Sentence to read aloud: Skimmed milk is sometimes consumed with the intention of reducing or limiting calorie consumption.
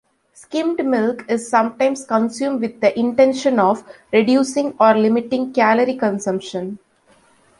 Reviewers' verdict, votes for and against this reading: accepted, 2, 0